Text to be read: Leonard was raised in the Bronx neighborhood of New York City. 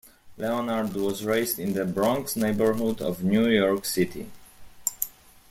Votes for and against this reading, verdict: 2, 0, accepted